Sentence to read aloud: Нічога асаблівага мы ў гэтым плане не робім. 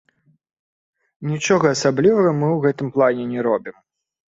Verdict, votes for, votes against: rejected, 1, 2